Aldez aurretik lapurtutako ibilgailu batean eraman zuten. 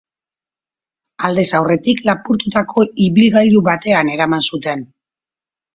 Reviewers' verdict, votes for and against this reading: accepted, 2, 0